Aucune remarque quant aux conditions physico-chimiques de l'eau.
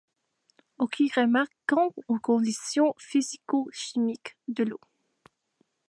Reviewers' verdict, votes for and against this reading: accepted, 2, 1